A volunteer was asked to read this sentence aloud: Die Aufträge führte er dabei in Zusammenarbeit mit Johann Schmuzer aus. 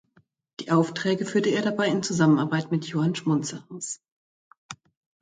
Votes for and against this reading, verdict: 1, 2, rejected